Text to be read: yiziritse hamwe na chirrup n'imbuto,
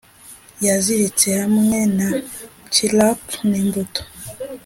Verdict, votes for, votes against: accepted, 2, 0